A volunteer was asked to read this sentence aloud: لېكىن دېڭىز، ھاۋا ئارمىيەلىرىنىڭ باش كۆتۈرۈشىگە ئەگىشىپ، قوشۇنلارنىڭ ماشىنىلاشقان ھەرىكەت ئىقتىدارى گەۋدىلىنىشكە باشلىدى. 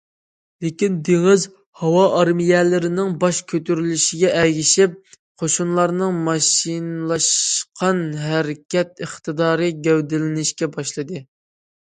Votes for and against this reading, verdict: 1, 2, rejected